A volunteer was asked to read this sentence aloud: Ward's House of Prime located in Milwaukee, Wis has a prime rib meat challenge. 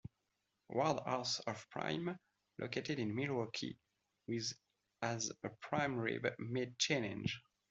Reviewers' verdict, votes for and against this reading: rejected, 1, 2